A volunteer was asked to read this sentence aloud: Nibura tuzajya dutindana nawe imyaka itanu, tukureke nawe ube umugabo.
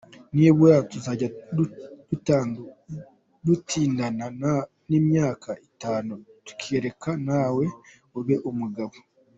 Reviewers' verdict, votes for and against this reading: rejected, 0, 2